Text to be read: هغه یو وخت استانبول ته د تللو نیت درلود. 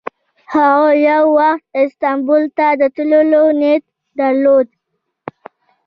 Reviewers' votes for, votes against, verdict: 1, 2, rejected